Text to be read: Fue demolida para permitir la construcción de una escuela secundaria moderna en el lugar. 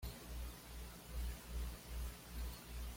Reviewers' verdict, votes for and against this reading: rejected, 1, 2